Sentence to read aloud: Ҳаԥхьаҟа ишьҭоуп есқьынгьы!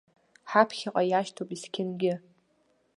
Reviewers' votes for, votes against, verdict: 0, 2, rejected